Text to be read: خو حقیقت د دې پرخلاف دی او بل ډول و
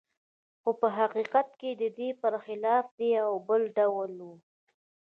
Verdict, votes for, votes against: accepted, 2, 1